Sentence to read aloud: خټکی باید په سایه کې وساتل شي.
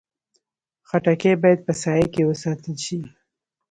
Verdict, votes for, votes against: accepted, 2, 0